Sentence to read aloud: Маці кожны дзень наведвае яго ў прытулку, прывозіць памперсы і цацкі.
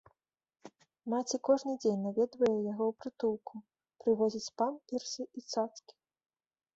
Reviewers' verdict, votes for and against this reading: accepted, 3, 1